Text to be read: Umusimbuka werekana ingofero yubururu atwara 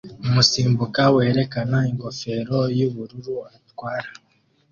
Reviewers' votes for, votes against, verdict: 2, 0, accepted